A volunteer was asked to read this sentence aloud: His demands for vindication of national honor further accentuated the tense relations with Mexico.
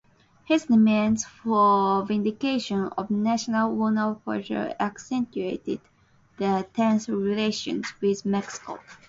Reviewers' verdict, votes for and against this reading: accepted, 2, 0